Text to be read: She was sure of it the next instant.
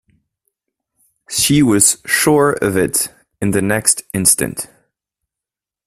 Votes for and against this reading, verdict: 1, 2, rejected